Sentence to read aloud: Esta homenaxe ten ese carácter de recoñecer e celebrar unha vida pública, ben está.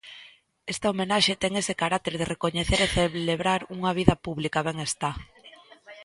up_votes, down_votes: 1, 2